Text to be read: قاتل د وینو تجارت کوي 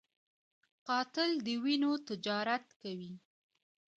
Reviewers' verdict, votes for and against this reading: accepted, 2, 0